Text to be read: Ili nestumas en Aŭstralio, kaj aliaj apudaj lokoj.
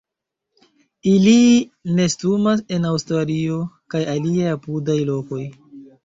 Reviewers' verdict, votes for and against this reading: rejected, 1, 2